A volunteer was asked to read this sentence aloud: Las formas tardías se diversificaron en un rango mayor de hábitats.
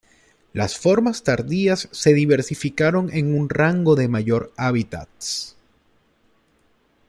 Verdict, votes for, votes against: rejected, 1, 2